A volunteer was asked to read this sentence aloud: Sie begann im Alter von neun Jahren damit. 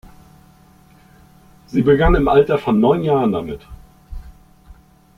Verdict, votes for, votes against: accepted, 2, 0